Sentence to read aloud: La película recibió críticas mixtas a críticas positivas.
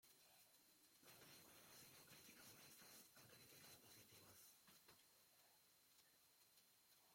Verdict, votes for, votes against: rejected, 0, 2